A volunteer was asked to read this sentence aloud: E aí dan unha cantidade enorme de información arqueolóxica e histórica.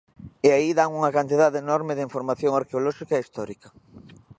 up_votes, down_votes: 2, 0